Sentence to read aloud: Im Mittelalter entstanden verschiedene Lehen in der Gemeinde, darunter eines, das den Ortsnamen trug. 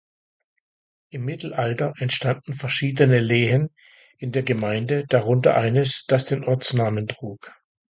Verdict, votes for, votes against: accepted, 2, 0